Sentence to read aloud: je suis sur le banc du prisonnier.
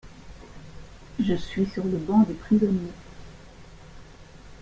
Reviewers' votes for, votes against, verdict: 1, 2, rejected